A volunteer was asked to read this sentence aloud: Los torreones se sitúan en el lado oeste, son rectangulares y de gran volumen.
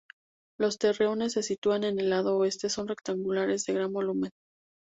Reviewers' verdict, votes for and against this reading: rejected, 0, 2